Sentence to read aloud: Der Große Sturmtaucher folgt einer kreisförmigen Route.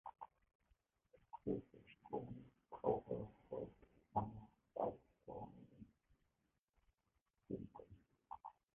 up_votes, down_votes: 0, 2